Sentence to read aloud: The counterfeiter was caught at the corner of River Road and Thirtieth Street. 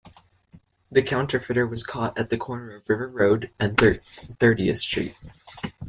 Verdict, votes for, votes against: rejected, 0, 2